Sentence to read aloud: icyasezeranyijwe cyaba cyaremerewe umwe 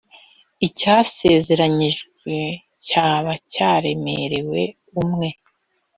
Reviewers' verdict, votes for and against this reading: accepted, 2, 0